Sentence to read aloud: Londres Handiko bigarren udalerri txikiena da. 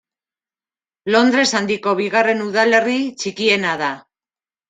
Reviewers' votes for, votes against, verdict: 2, 0, accepted